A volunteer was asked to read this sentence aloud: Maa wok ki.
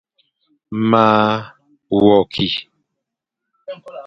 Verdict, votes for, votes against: rejected, 1, 2